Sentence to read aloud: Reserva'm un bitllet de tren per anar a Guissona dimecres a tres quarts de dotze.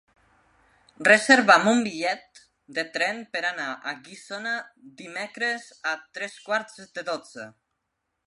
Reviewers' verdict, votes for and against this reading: accepted, 3, 0